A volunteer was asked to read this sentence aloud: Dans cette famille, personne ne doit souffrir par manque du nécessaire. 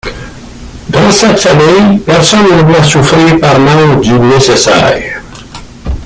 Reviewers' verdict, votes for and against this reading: rejected, 1, 2